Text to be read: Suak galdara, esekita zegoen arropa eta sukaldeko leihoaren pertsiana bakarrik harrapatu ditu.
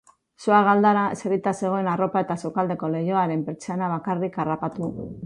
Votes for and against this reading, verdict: 0, 3, rejected